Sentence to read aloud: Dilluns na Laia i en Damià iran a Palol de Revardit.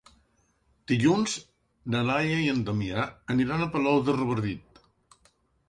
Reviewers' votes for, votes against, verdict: 1, 2, rejected